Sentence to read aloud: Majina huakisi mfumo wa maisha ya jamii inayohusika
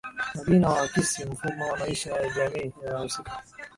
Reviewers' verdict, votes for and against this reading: accepted, 3, 2